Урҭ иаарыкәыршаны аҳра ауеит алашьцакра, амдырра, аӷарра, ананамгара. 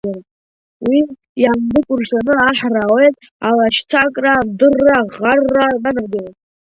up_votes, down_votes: 0, 2